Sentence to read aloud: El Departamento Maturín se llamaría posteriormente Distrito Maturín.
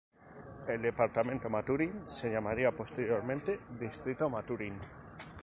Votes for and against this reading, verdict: 0, 2, rejected